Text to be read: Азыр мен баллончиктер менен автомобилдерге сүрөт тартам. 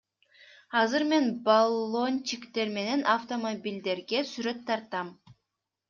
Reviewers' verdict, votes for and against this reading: accepted, 2, 0